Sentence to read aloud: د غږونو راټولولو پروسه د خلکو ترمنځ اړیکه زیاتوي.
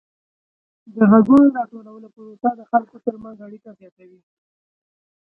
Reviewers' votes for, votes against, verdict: 0, 2, rejected